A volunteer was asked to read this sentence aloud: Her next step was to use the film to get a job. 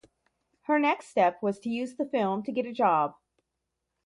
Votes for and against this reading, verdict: 4, 0, accepted